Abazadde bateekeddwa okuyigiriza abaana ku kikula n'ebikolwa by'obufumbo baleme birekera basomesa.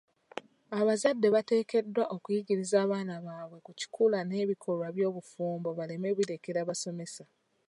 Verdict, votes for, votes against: rejected, 0, 2